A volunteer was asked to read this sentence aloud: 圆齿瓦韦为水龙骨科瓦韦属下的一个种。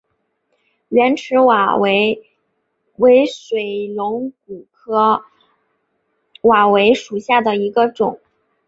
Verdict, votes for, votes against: accepted, 2, 0